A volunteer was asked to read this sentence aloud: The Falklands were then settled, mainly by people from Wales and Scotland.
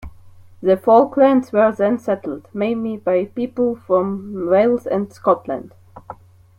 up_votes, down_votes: 2, 1